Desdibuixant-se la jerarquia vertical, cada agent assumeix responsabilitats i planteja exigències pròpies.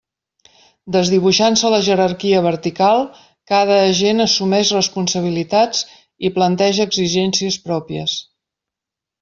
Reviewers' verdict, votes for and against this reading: accepted, 2, 0